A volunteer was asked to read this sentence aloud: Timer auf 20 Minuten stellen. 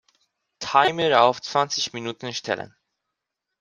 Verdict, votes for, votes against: rejected, 0, 2